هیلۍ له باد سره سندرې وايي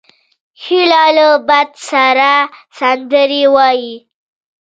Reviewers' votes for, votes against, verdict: 1, 2, rejected